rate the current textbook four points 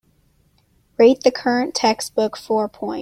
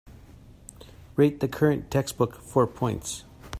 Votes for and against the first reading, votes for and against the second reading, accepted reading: 2, 4, 3, 0, second